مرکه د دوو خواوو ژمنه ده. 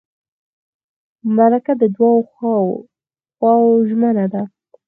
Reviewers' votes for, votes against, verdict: 2, 4, rejected